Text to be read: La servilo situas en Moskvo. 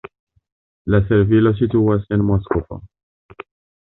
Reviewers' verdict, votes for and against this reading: accepted, 2, 0